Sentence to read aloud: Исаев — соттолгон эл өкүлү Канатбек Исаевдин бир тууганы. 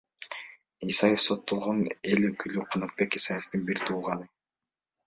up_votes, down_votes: 2, 1